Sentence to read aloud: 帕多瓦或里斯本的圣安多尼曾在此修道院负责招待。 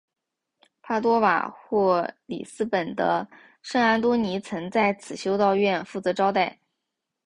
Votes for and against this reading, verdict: 2, 1, accepted